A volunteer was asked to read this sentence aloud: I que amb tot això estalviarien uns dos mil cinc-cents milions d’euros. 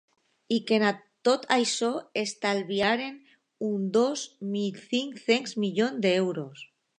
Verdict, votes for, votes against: rejected, 0, 2